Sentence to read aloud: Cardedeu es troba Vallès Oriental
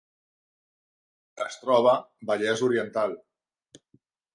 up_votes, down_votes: 0, 2